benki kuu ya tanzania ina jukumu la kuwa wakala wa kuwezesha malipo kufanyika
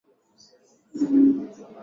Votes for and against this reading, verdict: 0, 2, rejected